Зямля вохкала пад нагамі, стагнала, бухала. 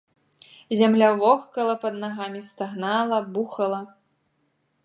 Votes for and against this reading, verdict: 2, 0, accepted